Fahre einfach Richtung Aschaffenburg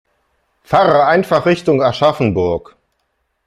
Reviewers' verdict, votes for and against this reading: accepted, 2, 1